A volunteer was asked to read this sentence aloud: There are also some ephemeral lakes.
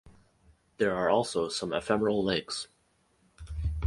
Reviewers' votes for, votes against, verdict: 4, 0, accepted